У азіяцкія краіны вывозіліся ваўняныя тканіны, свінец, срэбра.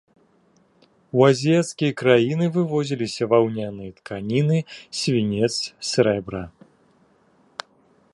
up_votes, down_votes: 2, 1